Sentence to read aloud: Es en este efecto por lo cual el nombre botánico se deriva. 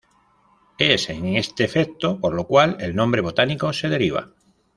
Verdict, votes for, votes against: accepted, 2, 0